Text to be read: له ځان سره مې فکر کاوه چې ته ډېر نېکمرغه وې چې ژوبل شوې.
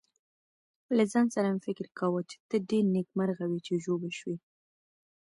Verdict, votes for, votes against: accepted, 2, 0